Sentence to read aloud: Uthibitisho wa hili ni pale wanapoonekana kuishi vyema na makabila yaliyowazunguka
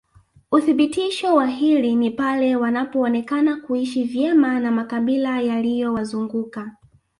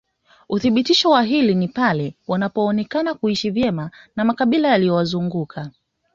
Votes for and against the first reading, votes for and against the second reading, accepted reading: 1, 2, 2, 1, second